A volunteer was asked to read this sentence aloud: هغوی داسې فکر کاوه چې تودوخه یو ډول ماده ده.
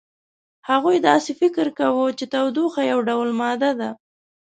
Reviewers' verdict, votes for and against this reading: accepted, 2, 1